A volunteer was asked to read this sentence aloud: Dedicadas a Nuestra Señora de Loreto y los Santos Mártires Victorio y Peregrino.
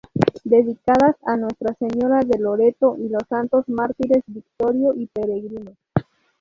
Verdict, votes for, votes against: rejected, 2, 2